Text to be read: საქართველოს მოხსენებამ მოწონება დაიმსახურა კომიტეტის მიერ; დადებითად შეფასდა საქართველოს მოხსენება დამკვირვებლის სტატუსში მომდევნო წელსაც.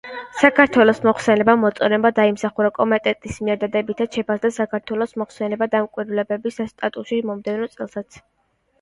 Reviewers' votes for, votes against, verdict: 2, 1, accepted